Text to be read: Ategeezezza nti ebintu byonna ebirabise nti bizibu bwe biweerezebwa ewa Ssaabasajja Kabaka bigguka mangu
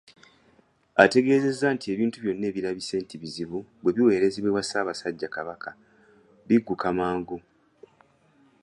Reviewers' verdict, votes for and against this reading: accepted, 2, 1